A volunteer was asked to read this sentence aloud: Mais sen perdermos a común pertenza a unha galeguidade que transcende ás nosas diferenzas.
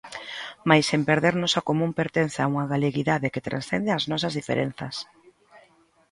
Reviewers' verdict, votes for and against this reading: rejected, 1, 2